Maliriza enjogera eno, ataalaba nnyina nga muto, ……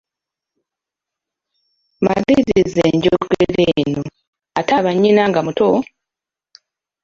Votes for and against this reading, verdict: 1, 2, rejected